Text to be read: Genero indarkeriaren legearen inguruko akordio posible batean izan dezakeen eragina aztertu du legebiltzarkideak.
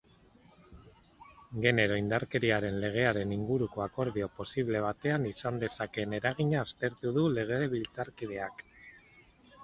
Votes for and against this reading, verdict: 2, 2, rejected